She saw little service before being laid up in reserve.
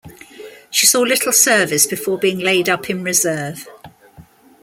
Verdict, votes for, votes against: accepted, 2, 0